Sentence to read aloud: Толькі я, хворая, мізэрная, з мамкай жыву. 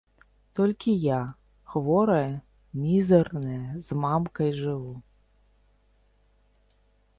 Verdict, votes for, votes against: rejected, 1, 2